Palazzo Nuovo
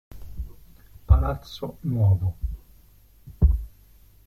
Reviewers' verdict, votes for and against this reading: rejected, 1, 2